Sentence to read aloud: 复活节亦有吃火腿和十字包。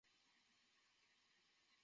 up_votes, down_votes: 1, 2